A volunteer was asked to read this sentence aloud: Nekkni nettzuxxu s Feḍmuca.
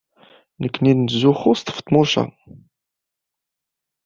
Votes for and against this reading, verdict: 1, 2, rejected